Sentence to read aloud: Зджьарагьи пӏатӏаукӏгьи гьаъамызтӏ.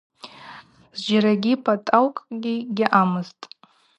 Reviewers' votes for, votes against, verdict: 2, 0, accepted